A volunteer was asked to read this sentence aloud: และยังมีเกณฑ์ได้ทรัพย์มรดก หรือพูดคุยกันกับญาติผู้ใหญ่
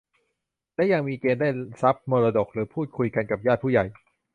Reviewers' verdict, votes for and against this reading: rejected, 0, 2